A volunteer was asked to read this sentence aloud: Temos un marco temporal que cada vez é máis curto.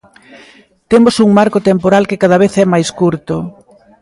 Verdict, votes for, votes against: accepted, 2, 0